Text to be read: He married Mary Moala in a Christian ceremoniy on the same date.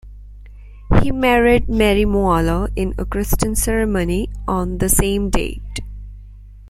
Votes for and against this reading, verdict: 2, 1, accepted